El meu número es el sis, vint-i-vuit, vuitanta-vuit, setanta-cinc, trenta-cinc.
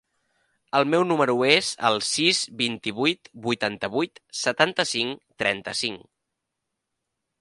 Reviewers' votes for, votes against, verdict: 3, 0, accepted